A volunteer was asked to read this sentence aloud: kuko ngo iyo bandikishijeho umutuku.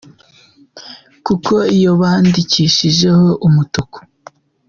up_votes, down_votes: 1, 2